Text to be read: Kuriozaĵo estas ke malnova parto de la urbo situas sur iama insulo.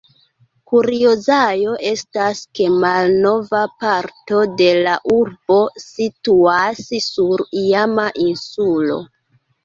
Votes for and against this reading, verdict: 0, 2, rejected